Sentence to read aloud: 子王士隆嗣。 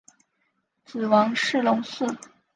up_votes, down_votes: 2, 1